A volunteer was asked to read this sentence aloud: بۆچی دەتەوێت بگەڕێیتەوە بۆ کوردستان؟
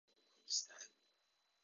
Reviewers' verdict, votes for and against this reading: rejected, 0, 2